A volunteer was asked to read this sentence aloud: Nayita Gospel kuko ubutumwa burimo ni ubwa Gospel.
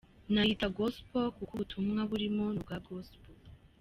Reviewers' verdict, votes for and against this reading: accepted, 2, 0